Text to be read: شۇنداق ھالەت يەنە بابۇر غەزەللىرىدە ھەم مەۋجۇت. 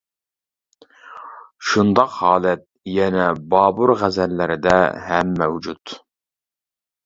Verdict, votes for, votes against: accepted, 3, 0